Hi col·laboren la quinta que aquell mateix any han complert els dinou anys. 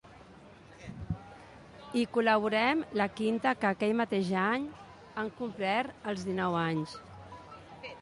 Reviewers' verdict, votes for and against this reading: rejected, 1, 2